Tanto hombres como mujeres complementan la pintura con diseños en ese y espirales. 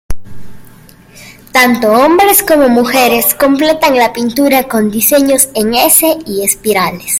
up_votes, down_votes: 1, 2